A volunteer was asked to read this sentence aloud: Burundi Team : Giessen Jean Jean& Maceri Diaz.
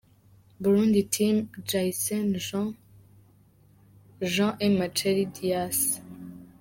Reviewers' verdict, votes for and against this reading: accepted, 2, 0